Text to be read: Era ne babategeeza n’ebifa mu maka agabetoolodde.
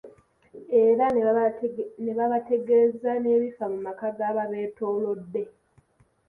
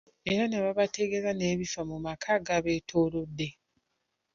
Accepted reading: second